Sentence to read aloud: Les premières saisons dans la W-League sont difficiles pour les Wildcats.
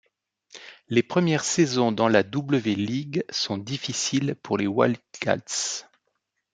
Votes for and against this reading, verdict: 2, 0, accepted